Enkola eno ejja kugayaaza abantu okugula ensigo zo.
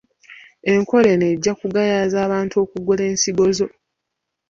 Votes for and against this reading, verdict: 0, 2, rejected